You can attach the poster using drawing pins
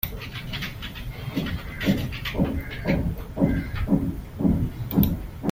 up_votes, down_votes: 0, 2